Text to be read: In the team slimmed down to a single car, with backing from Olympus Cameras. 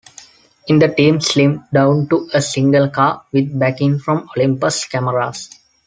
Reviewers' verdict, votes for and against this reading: accepted, 2, 0